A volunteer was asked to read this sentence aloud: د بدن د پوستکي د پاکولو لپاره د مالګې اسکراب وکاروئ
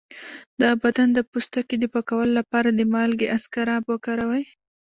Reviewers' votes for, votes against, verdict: 0, 2, rejected